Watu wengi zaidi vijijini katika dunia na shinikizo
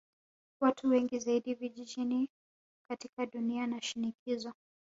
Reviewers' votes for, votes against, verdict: 1, 2, rejected